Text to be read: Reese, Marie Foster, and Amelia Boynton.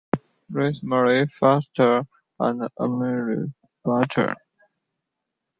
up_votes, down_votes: 0, 2